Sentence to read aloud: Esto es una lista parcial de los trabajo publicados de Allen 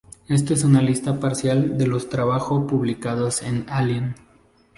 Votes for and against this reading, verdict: 2, 0, accepted